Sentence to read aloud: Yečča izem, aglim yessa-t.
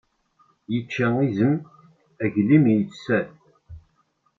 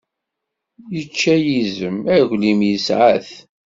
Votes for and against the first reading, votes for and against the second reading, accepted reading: 2, 1, 0, 2, first